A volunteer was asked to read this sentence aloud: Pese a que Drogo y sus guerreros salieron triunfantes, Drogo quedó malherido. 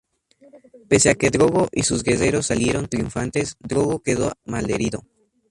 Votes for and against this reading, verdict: 0, 2, rejected